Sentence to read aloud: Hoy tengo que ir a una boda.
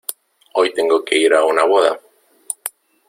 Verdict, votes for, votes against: accepted, 2, 0